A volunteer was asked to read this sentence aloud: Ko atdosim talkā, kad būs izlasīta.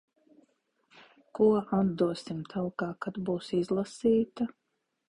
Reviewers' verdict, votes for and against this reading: accepted, 2, 0